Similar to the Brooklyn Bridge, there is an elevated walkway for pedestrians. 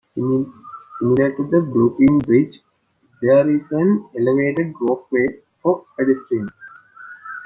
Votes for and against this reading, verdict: 1, 2, rejected